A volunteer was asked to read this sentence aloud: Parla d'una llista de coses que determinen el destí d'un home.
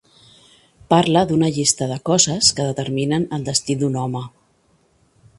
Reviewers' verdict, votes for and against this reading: accepted, 2, 0